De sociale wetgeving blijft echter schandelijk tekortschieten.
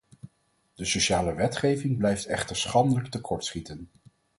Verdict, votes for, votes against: accepted, 4, 0